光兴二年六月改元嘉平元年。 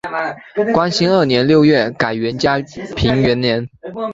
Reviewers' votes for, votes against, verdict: 5, 0, accepted